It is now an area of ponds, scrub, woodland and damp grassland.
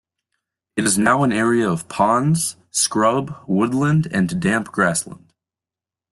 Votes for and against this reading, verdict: 0, 2, rejected